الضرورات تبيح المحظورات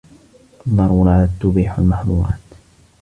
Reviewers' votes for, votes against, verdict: 2, 0, accepted